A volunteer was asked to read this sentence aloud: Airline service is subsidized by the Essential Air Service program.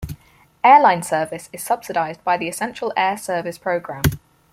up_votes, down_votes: 4, 0